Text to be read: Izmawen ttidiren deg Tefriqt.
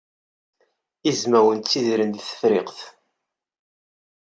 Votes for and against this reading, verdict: 2, 0, accepted